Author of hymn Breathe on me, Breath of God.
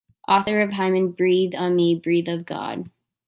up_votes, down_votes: 0, 2